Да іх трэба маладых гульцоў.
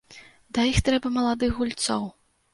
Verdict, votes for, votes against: accepted, 2, 0